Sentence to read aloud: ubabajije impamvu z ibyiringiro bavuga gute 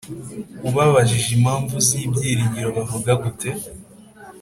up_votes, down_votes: 2, 0